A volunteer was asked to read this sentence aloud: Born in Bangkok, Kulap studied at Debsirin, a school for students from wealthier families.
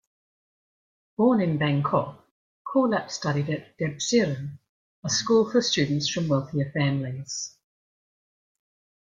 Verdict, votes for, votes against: accepted, 2, 0